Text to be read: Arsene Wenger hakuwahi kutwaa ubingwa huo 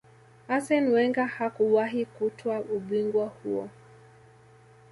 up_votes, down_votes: 0, 2